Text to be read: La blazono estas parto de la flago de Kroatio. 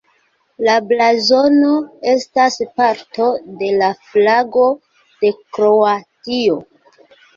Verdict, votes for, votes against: rejected, 1, 2